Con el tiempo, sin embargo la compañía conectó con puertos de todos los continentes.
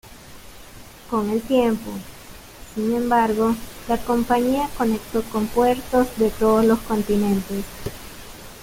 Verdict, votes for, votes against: accepted, 2, 0